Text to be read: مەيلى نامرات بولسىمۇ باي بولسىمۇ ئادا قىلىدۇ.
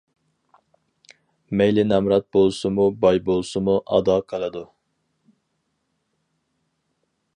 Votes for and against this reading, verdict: 4, 0, accepted